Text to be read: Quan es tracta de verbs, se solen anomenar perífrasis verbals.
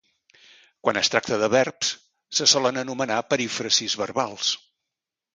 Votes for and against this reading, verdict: 2, 0, accepted